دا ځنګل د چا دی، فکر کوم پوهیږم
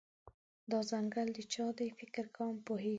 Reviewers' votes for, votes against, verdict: 2, 0, accepted